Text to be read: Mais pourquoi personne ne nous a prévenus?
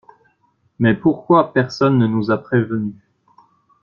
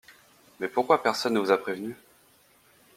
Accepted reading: first